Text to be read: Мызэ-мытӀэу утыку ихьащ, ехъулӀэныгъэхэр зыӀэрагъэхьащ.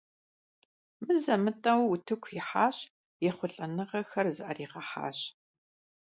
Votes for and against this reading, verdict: 2, 0, accepted